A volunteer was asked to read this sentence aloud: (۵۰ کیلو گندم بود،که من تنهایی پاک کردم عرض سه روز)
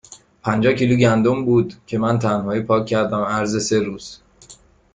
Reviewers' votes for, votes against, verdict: 0, 2, rejected